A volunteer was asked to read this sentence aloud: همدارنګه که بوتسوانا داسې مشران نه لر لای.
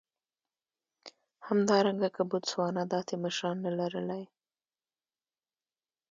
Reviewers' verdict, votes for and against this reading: accepted, 2, 0